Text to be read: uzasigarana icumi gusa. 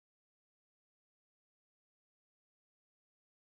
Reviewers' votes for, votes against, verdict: 0, 2, rejected